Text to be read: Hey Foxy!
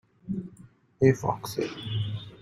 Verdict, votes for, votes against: accepted, 2, 0